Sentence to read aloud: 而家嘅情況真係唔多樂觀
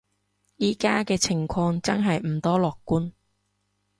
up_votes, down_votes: 1, 2